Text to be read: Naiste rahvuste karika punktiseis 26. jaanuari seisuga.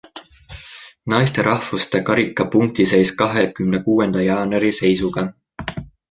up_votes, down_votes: 0, 2